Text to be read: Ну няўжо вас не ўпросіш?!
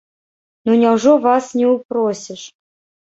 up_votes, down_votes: 1, 2